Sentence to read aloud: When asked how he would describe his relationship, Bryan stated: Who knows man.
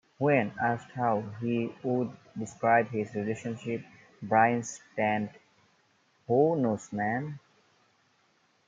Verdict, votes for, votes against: rejected, 0, 2